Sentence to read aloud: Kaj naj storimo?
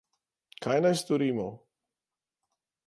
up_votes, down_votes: 2, 0